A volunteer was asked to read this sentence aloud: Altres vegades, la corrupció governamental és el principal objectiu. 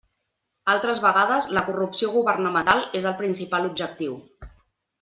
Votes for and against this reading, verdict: 1, 2, rejected